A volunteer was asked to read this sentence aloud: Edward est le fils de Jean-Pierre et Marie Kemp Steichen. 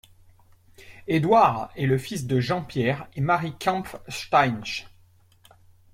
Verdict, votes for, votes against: rejected, 1, 2